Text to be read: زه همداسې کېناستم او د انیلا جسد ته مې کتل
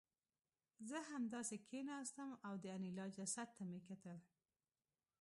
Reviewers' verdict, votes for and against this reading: rejected, 1, 2